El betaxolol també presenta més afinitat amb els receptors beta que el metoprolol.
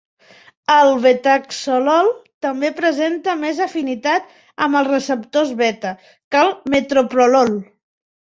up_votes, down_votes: 3, 1